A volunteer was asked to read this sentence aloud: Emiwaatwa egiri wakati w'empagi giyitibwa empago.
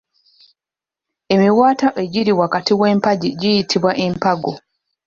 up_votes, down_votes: 2, 1